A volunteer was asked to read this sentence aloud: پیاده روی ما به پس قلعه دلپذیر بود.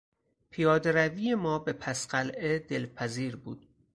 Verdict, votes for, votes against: rejected, 0, 4